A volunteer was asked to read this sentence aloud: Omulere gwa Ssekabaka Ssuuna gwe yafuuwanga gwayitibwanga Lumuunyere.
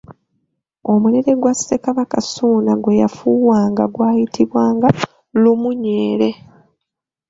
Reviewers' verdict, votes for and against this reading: accepted, 2, 1